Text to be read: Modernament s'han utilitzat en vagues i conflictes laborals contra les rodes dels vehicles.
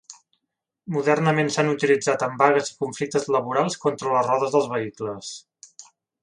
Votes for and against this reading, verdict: 2, 0, accepted